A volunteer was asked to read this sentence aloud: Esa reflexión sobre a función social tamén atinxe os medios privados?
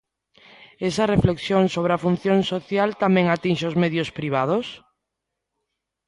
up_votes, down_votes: 2, 0